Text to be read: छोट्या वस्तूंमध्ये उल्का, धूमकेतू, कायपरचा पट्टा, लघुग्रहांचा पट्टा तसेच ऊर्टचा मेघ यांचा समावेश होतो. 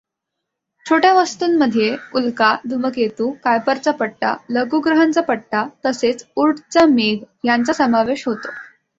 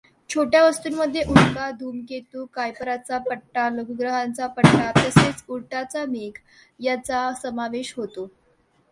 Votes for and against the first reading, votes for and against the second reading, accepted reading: 2, 0, 0, 2, first